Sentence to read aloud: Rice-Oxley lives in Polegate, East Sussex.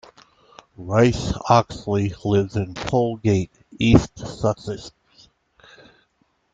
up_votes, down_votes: 0, 2